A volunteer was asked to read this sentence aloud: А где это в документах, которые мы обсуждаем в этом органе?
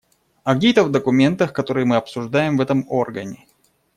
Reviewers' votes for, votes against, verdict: 1, 2, rejected